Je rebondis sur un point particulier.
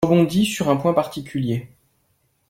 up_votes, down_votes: 0, 2